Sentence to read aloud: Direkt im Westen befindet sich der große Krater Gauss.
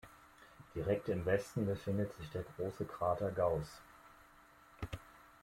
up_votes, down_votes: 2, 0